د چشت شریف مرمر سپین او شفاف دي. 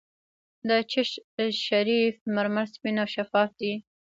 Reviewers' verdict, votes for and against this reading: rejected, 1, 2